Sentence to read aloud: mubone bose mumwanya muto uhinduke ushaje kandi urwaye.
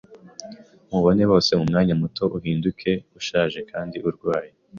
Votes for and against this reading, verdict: 2, 0, accepted